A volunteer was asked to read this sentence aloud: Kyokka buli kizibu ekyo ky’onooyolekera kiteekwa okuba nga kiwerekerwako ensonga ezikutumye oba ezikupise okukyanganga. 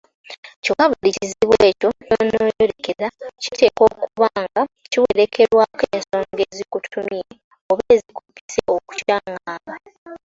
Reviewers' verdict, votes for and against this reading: rejected, 0, 2